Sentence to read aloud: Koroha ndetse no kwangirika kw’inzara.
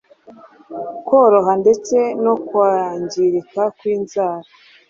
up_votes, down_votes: 3, 0